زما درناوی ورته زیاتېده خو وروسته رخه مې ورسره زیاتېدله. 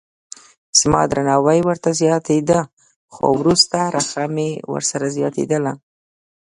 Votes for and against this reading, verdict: 2, 0, accepted